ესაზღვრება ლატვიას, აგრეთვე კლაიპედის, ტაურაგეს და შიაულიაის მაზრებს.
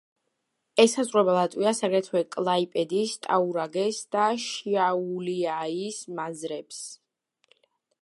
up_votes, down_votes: 1, 2